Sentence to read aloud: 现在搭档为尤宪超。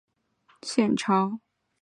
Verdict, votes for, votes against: rejected, 0, 4